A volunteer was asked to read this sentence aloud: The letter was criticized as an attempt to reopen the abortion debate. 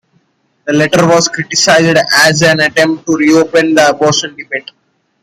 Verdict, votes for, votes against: accepted, 2, 0